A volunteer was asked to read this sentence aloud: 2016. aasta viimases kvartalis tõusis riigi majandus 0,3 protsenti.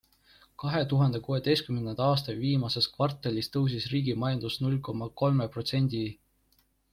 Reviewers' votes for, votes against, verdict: 0, 2, rejected